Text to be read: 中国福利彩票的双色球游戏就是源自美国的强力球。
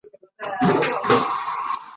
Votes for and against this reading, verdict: 0, 2, rejected